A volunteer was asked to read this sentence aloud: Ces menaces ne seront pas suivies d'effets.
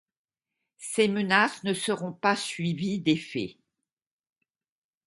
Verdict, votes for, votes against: accepted, 2, 0